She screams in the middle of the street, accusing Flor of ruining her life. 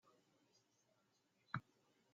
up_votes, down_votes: 0, 2